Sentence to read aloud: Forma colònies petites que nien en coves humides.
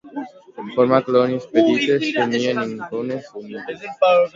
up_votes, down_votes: 0, 2